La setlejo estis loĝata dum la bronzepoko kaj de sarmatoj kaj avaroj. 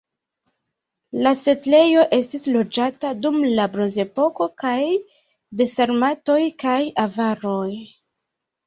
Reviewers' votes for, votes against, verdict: 2, 1, accepted